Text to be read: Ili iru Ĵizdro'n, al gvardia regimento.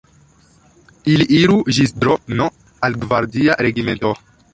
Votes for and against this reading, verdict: 0, 2, rejected